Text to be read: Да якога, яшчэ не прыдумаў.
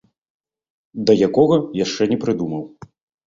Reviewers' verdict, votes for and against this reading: accepted, 2, 0